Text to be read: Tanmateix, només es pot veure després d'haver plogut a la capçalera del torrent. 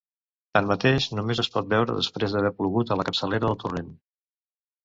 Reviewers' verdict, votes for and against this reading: accepted, 2, 0